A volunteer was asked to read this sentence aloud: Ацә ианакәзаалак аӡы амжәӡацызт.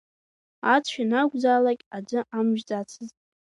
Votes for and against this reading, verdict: 2, 1, accepted